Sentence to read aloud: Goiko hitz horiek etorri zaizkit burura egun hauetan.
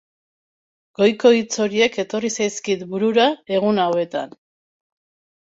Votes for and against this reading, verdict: 2, 0, accepted